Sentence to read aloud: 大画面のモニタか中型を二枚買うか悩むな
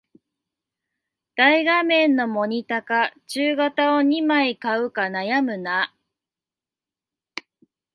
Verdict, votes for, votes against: rejected, 0, 2